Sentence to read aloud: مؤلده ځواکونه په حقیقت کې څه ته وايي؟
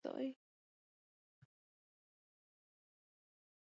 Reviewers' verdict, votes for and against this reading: rejected, 0, 2